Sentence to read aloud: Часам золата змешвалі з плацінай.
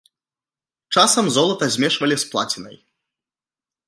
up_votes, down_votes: 2, 0